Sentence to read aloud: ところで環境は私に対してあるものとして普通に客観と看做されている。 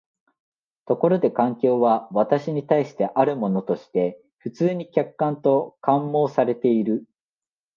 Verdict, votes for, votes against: rejected, 1, 2